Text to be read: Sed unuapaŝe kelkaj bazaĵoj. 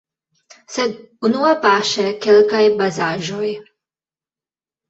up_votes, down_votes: 1, 2